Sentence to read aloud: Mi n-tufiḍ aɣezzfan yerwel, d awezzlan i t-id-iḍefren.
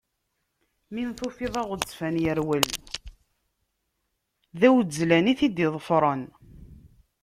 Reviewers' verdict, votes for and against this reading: rejected, 1, 2